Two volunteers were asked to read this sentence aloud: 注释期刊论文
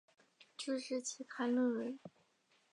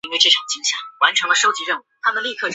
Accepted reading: first